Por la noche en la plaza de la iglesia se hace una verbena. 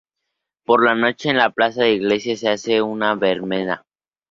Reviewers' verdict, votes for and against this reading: rejected, 0, 2